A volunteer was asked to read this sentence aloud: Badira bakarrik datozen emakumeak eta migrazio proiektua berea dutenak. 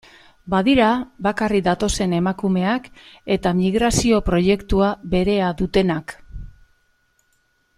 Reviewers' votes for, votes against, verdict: 2, 0, accepted